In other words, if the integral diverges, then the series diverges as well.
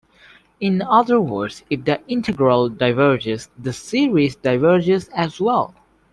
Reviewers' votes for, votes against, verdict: 2, 0, accepted